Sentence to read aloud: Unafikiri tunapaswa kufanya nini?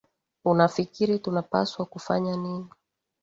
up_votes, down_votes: 2, 1